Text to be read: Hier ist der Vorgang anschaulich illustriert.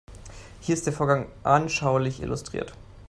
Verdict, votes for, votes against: accepted, 2, 0